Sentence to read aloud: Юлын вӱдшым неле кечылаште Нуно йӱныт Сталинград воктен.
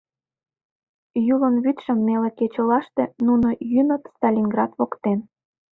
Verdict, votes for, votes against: accepted, 2, 0